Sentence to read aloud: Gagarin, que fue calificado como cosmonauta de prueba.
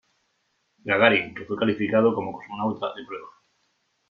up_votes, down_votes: 1, 2